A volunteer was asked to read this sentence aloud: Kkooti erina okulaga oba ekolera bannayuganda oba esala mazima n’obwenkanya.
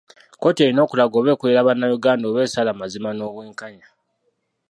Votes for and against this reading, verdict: 1, 2, rejected